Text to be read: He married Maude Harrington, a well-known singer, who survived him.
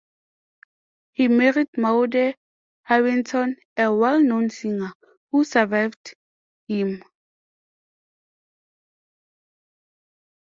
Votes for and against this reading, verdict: 2, 1, accepted